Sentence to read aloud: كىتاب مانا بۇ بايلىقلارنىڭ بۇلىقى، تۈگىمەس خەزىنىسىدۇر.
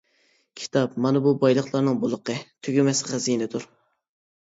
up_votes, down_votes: 0, 2